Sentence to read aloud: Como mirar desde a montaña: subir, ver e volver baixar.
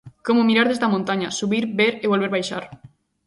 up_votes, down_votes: 2, 0